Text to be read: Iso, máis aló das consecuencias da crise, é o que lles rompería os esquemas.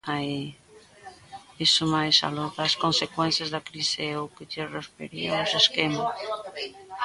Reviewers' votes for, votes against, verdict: 0, 3, rejected